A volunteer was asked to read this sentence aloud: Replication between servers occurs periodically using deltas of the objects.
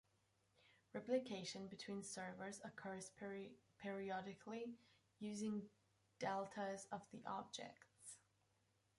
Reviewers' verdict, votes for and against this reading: rejected, 0, 2